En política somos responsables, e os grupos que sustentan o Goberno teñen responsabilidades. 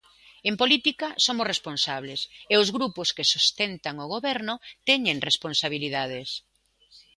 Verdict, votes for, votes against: accepted, 2, 0